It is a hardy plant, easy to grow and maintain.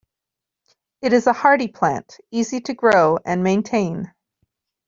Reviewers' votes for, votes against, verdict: 2, 0, accepted